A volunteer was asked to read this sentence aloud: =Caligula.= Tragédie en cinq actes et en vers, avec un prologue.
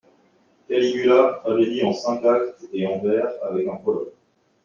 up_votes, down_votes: 0, 2